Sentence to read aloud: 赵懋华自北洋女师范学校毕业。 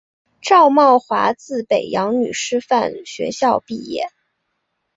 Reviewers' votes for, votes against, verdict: 4, 0, accepted